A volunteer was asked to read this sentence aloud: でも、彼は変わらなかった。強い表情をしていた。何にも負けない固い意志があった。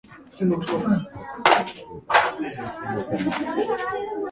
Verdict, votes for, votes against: rejected, 4, 17